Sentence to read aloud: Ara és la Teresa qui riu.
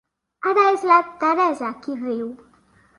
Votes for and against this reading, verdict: 3, 0, accepted